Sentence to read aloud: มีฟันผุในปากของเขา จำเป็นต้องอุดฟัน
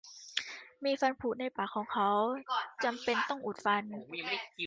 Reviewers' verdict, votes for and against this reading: accepted, 2, 1